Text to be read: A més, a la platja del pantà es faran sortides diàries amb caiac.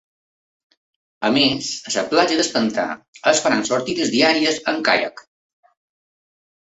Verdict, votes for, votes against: rejected, 0, 2